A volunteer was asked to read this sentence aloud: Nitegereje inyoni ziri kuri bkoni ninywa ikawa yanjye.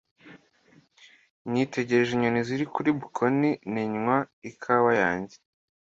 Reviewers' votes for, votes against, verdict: 2, 1, accepted